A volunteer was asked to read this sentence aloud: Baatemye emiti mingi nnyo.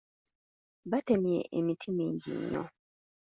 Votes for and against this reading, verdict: 1, 2, rejected